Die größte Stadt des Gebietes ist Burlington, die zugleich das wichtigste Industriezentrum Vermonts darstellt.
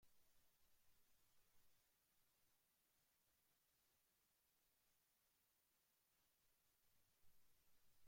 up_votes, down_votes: 0, 2